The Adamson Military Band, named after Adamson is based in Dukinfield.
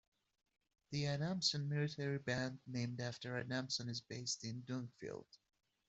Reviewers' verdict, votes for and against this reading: rejected, 0, 2